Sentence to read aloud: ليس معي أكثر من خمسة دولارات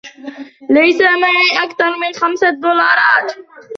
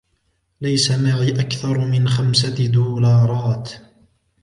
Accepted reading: second